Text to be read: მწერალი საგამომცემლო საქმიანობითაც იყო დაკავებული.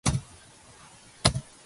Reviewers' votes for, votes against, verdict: 0, 2, rejected